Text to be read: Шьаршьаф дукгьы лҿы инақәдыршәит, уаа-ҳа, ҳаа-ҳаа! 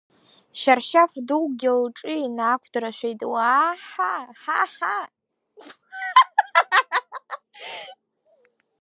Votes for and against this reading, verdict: 0, 2, rejected